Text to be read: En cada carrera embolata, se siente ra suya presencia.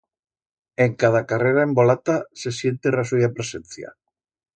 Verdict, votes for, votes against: accepted, 2, 0